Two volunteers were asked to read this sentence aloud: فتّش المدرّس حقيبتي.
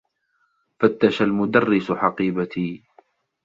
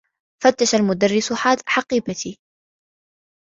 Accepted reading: first